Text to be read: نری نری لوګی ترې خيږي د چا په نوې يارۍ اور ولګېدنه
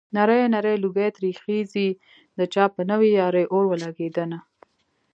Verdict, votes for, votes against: accepted, 2, 0